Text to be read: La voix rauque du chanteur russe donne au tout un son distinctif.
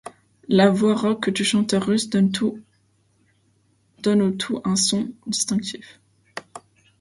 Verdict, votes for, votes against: rejected, 0, 2